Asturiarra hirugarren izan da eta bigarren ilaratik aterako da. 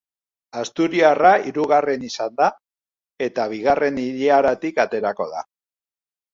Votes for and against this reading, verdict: 2, 0, accepted